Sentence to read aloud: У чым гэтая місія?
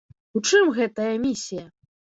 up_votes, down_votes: 2, 0